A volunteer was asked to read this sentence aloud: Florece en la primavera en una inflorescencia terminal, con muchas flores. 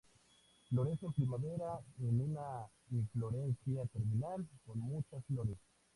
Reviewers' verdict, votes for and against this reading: rejected, 0, 2